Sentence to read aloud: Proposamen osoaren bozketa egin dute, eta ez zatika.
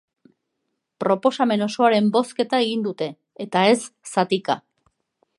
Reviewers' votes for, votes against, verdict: 2, 0, accepted